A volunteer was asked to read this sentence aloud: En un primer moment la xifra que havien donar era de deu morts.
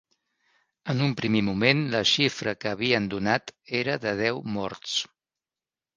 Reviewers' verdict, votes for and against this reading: rejected, 2, 3